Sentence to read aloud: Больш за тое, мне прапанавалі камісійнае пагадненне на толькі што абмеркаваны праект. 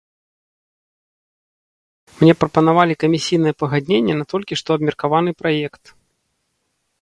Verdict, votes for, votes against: rejected, 0, 2